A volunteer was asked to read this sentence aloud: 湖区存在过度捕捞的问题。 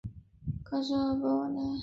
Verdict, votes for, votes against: rejected, 1, 2